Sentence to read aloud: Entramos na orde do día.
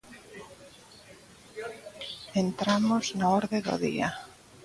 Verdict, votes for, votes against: accepted, 2, 0